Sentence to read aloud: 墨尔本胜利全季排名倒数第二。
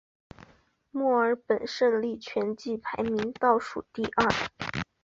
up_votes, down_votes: 4, 1